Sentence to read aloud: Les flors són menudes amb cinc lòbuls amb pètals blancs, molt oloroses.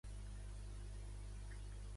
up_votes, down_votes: 0, 2